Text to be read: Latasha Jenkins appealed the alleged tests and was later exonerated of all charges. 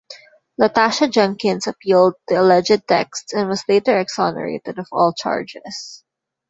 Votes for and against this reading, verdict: 0, 2, rejected